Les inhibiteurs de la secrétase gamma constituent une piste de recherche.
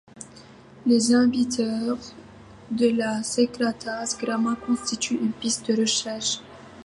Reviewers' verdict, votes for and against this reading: rejected, 0, 2